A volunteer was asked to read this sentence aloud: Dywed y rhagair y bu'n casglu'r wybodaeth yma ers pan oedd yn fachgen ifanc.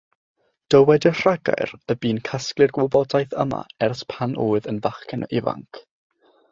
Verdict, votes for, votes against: accepted, 3, 0